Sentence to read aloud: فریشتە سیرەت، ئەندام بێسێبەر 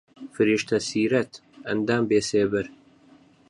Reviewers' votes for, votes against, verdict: 4, 0, accepted